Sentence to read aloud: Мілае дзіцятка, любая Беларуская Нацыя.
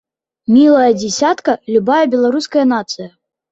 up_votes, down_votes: 1, 2